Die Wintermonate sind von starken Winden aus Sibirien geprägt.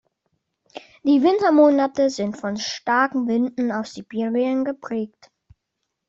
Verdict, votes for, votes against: accepted, 2, 0